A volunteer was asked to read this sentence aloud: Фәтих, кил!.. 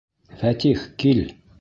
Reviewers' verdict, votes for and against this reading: accepted, 2, 0